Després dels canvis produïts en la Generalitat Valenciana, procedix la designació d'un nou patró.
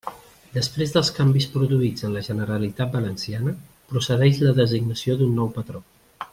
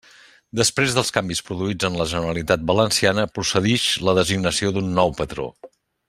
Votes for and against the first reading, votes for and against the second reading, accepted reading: 1, 2, 3, 0, second